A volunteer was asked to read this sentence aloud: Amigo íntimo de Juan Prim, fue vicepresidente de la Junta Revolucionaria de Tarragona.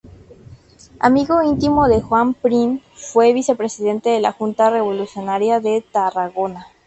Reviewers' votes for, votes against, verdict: 6, 2, accepted